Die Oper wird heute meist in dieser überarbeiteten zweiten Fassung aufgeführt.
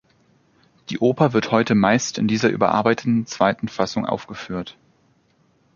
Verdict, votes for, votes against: accepted, 2, 0